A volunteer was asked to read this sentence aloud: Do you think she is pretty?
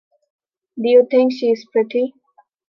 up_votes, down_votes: 2, 0